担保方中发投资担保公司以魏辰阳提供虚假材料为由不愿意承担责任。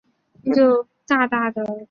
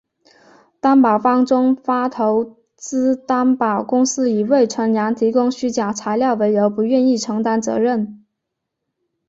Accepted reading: second